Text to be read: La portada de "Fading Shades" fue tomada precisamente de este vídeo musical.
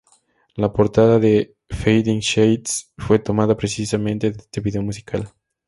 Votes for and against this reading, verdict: 2, 0, accepted